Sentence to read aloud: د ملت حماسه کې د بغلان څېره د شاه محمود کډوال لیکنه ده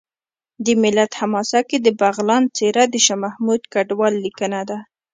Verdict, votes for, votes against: accepted, 2, 0